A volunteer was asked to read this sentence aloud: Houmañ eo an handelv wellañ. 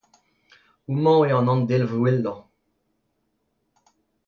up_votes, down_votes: 2, 0